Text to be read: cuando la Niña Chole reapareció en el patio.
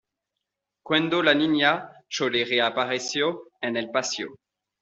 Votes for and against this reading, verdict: 1, 2, rejected